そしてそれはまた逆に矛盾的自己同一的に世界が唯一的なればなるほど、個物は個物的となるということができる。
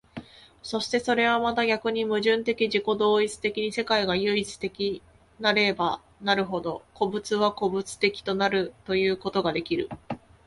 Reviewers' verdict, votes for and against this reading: accepted, 2, 0